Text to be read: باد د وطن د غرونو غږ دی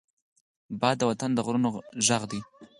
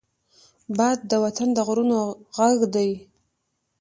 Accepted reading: first